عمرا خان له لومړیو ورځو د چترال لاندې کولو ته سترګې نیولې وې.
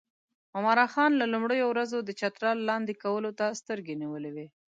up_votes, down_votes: 2, 0